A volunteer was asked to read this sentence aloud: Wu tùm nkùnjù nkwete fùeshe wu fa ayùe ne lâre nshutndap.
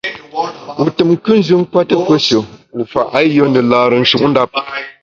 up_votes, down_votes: 1, 2